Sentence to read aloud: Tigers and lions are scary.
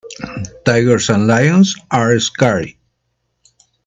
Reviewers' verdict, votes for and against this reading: rejected, 0, 2